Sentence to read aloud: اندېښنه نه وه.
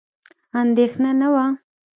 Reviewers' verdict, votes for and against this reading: rejected, 1, 2